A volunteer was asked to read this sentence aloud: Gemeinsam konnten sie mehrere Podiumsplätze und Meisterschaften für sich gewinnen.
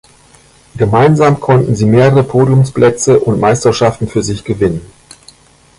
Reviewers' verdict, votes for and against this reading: accepted, 2, 0